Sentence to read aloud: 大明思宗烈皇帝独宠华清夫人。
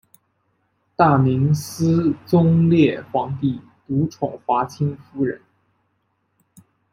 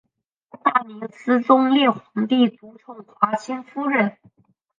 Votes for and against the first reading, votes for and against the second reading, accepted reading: 2, 0, 0, 3, first